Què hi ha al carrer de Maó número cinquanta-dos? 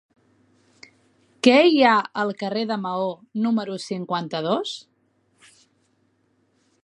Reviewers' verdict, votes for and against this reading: accepted, 3, 0